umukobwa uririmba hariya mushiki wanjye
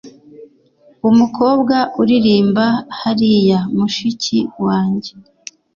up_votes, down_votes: 2, 0